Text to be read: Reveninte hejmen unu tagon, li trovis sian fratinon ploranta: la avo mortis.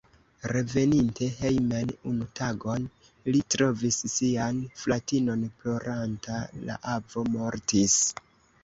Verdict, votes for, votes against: rejected, 0, 2